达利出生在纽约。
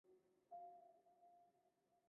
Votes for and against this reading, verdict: 0, 2, rejected